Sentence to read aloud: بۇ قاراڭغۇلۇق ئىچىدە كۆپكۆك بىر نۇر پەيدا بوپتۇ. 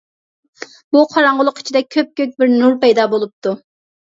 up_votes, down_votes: 1, 2